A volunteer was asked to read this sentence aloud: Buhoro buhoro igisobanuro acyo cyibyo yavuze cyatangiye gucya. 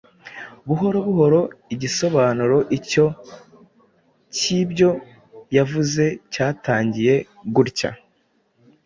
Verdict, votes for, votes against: rejected, 1, 2